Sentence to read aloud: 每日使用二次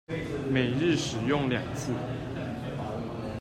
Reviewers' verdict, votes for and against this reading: rejected, 1, 2